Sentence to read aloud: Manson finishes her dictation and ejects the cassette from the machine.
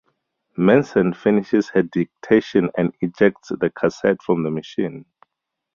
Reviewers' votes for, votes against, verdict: 4, 0, accepted